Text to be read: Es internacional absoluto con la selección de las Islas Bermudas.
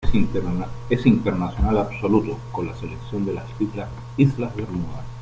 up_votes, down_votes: 1, 2